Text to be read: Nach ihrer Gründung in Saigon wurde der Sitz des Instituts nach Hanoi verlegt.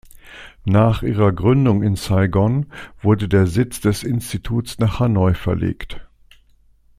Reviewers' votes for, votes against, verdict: 2, 0, accepted